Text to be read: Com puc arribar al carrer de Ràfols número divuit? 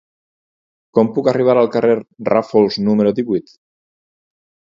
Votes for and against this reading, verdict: 0, 4, rejected